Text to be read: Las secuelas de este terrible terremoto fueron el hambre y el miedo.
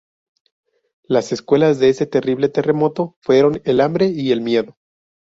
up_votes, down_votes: 0, 2